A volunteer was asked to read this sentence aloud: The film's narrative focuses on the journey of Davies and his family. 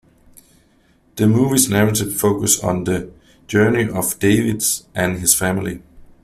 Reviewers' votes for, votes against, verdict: 0, 2, rejected